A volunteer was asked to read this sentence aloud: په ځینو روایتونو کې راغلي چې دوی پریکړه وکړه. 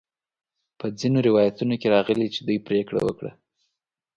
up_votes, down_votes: 2, 0